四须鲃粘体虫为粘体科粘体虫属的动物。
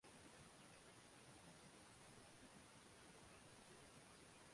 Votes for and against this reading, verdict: 0, 2, rejected